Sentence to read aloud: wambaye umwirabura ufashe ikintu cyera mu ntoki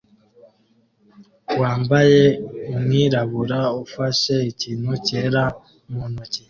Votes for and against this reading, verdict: 2, 0, accepted